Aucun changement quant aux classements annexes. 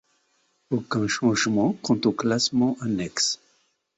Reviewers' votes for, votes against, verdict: 2, 0, accepted